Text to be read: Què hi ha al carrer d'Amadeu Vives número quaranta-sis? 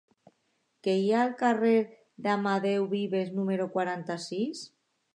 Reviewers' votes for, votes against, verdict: 2, 0, accepted